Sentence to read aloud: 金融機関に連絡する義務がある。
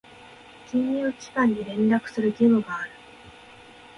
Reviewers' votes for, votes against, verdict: 2, 0, accepted